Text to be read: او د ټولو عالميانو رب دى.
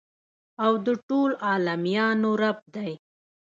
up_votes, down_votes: 2, 0